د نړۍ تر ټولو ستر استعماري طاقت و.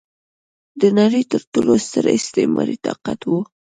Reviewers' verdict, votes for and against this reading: accepted, 2, 0